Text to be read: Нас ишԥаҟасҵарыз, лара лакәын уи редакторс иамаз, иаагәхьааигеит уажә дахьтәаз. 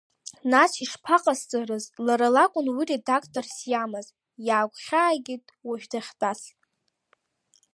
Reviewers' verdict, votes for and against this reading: accepted, 2, 0